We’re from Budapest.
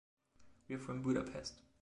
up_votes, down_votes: 2, 0